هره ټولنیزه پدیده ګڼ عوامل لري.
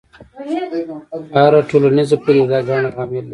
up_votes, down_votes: 0, 2